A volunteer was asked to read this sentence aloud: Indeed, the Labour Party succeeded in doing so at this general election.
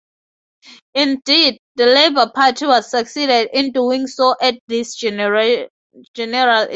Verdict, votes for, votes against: rejected, 0, 2